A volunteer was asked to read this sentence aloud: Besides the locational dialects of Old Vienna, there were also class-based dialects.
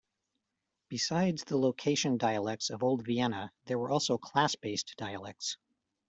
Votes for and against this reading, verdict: 1, 2, rejected